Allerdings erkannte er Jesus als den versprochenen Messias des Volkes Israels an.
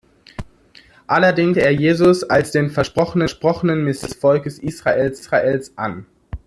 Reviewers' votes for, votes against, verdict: 0, 2, rejected